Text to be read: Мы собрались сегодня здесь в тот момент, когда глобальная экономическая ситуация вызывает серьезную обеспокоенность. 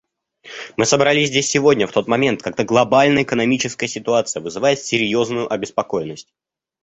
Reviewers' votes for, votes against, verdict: 0, 2, rejected